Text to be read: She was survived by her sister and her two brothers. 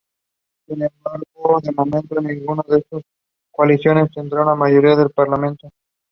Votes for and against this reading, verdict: 0, 2, rejected